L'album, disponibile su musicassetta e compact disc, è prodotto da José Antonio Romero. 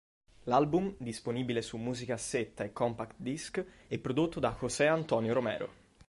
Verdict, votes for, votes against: accepted, 2, 0